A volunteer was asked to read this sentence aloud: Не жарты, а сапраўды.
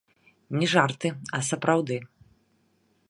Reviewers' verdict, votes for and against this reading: rejected, 1, 3